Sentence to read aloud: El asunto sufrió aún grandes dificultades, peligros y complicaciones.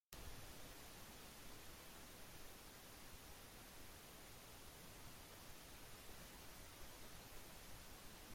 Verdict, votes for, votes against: rejected, 0, 2